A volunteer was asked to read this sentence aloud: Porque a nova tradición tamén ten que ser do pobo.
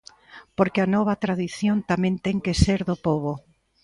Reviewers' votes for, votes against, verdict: 2, 0, accepted